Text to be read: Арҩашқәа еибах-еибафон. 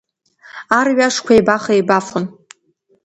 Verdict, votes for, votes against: accepted, 2, 0